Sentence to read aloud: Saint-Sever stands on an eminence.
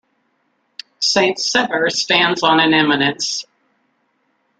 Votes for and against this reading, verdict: 1, 2, rejected